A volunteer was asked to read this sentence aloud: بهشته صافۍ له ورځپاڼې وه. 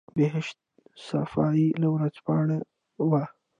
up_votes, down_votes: 0, 2